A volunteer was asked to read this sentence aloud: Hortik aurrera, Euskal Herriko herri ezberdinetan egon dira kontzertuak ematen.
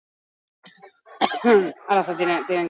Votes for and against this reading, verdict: 2, 0, accepted